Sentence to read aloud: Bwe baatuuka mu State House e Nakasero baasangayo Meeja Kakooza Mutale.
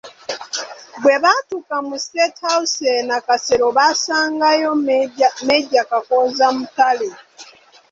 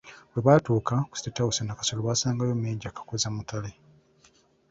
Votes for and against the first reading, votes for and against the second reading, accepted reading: 0, 2, 2, 0, second